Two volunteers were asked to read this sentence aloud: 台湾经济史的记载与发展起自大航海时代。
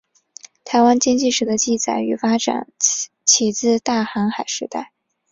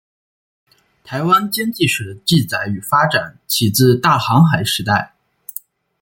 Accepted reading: first